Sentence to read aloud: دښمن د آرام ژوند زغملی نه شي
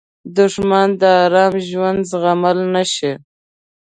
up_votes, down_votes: 0, 2